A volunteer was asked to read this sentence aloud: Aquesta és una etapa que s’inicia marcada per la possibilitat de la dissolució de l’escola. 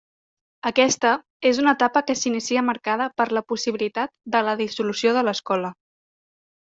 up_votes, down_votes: 3, 0